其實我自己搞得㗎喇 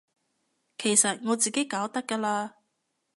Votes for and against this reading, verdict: 2, 0, accepted